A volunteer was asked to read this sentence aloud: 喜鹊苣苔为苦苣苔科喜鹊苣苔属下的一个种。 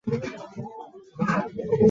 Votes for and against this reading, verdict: 0, 2, rejected